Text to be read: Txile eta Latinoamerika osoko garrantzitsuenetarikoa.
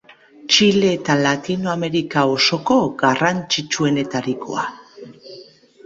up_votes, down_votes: 2, 0